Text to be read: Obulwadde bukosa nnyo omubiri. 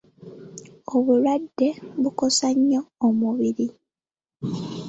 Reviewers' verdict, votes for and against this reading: accepted, 2, 0